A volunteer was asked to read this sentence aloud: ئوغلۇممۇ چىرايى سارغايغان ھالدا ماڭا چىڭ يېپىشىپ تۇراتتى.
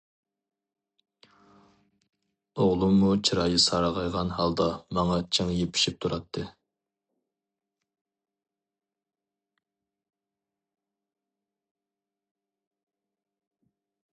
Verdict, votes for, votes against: accepted, 2, 0